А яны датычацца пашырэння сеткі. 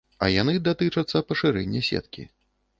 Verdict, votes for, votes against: accepted, 2, 0